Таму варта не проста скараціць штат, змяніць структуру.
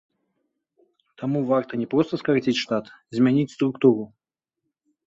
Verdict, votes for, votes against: accepted, 2, 0